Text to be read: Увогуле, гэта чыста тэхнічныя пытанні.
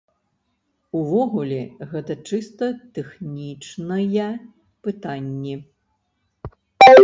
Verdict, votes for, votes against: rejected, 1, 2